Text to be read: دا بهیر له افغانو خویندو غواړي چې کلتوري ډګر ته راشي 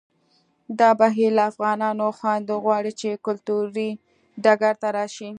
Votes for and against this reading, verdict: 2, 0, accepted